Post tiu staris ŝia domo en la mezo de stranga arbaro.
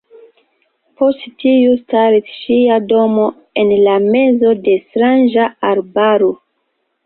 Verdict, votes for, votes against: rejected, 1, 2